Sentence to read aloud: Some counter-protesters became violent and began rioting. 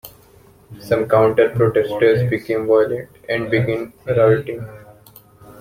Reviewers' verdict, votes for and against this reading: accepted, 2, 1